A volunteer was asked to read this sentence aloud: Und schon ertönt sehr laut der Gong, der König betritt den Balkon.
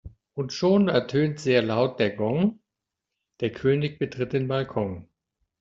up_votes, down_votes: 2, 0